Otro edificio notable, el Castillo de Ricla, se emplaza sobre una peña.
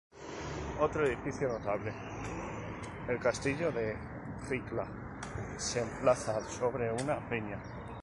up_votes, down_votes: 0, 2